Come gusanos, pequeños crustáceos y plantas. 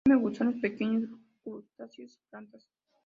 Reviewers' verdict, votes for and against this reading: rejected, 0, 2